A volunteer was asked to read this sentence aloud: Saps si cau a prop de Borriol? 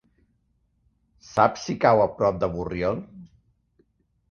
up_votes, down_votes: 3, 0